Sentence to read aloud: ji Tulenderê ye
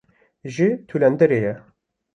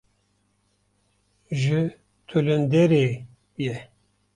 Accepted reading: first